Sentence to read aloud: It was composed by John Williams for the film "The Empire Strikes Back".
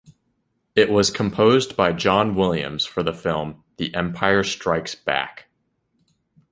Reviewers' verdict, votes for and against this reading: accepted, 2, 0